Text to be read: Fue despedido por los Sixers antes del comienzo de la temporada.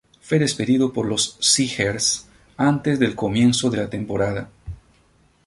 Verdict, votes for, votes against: rejected, 4, 4